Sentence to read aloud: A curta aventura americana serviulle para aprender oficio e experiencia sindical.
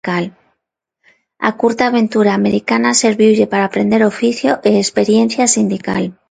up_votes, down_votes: 0, 2